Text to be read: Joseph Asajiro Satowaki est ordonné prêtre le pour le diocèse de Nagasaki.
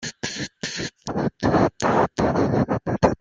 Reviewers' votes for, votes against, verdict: 0, 2, rejected